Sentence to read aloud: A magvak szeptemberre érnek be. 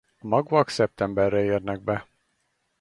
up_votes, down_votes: 0, 4